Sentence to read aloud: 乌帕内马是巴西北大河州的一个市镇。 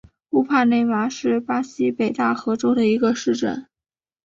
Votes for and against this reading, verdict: 2, 0, accepted